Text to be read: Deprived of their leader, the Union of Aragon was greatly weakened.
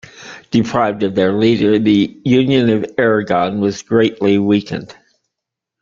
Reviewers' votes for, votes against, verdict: 2, 0, accepted